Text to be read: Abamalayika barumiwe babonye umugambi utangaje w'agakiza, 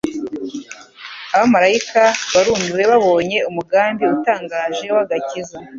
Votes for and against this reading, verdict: 2, 0, accepted